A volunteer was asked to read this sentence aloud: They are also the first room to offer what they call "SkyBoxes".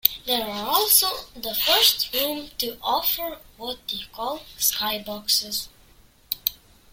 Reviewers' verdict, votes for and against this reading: accepted, 2, 0